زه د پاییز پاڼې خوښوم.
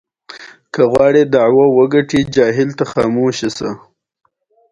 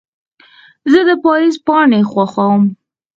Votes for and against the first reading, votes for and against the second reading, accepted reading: 2, 0, 2, 4, first